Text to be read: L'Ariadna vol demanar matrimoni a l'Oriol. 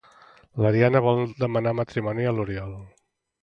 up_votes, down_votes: 1, 2